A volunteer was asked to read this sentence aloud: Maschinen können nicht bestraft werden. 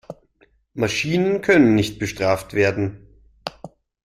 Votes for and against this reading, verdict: 2, 0, accepted